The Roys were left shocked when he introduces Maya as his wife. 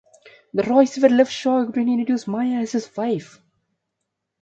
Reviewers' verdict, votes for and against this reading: rejected, 0, 2